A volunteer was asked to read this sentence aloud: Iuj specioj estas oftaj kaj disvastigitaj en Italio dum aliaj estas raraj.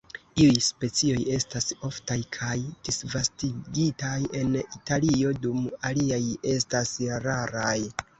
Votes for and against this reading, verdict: 0, 2, rejected